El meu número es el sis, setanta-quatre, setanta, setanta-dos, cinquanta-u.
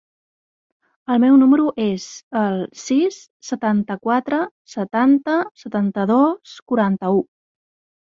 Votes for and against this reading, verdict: 1, 2, rejected